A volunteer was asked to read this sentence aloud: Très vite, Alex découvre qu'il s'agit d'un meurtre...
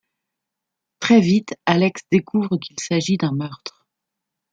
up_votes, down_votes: 2, 0